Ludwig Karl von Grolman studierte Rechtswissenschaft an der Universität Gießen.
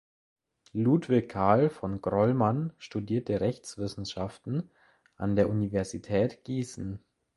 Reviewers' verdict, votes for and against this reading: rejected, 1, 2